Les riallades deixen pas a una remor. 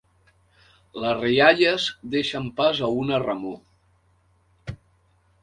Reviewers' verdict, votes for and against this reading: rejected, 1, 2